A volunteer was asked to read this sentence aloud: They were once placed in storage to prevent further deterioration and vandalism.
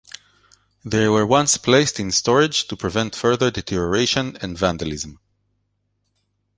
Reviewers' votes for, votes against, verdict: 2, 0, accepted